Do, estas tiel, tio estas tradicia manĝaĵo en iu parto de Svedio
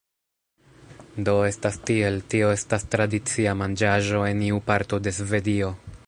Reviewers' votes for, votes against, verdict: 1, 2, rejected